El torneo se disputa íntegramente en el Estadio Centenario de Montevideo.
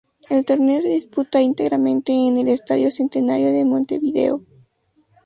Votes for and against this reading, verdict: 2, 0, accepted